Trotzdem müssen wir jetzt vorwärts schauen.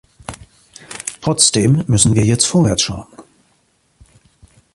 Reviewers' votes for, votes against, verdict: 2, 0, accepted